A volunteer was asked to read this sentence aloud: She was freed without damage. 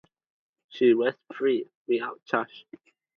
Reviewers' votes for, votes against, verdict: 4, 0, accepted